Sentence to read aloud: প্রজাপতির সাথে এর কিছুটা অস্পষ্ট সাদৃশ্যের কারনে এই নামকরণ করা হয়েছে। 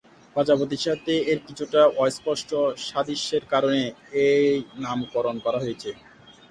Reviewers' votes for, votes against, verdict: 2, 0, accepted